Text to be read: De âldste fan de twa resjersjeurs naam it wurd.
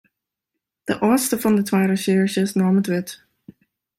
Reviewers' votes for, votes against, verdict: 1, 2, rejected